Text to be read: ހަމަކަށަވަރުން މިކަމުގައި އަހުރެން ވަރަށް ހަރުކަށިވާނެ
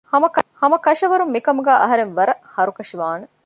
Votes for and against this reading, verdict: 1, 2, rejected